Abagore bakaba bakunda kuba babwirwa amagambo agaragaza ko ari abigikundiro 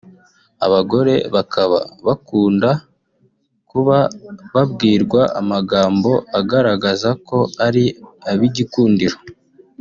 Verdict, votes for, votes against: accepted, 3, 0